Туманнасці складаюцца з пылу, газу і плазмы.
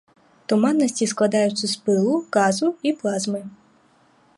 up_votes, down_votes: 0, 2